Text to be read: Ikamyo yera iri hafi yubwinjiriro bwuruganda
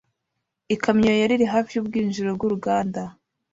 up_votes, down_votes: 1, 2